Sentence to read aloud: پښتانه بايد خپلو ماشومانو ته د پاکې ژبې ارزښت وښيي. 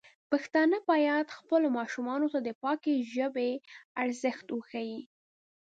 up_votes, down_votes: 2, 0